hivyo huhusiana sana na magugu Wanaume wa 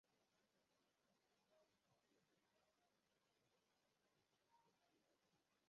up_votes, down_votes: 0, 2